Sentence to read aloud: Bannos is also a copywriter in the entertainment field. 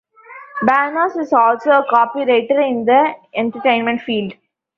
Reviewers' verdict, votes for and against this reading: rejected, 1, 2